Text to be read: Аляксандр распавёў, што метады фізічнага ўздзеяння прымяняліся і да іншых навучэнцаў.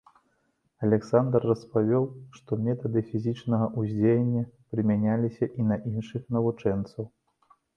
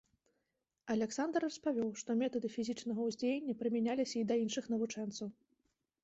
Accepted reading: second